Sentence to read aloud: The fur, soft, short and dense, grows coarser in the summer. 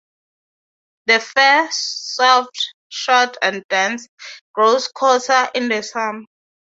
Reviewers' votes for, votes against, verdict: 0, 3, rejected